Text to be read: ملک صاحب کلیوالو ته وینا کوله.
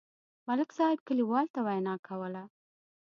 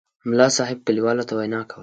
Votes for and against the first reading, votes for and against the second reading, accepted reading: 0, 2, 2, 0, second